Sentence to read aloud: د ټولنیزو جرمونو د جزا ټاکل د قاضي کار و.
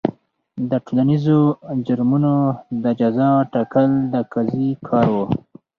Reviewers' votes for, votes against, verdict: 2, 0, accepted